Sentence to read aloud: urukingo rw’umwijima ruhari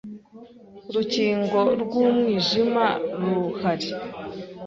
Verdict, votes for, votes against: accepted, 2, 0